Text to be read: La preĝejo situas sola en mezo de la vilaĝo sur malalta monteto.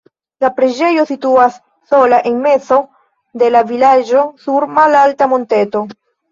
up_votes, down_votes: 1, 2